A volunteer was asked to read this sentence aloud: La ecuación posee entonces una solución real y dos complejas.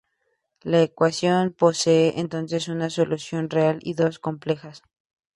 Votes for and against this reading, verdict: 2, 0, accepted